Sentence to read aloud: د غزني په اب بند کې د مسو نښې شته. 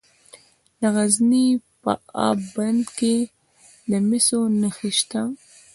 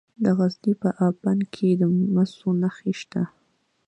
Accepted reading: second